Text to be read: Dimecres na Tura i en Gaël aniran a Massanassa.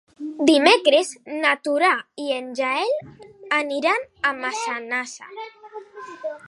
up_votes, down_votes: 1, 2